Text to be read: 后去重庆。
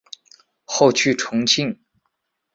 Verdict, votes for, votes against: accepted, 3, 0